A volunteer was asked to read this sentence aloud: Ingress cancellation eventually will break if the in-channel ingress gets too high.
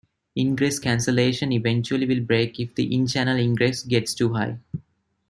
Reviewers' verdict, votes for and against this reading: accepted, 2, 0